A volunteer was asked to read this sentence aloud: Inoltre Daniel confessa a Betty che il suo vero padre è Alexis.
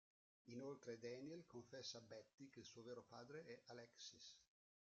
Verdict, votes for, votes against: rejected, 0, 2